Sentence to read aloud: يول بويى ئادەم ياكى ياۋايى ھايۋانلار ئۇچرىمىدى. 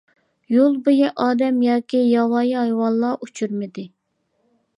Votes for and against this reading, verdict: 2, 0, accepted